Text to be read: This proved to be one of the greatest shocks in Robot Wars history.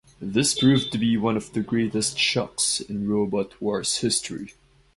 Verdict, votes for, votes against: accepted, 2, 0